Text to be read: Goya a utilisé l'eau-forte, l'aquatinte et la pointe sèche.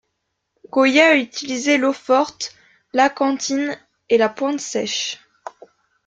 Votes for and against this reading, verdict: 0, 2, rejected